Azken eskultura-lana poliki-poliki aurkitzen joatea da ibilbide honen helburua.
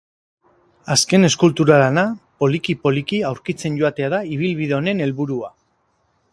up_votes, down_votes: 4, 2